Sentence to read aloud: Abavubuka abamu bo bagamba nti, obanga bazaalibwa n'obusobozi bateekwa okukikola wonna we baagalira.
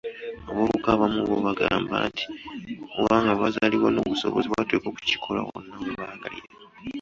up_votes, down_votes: 0, 2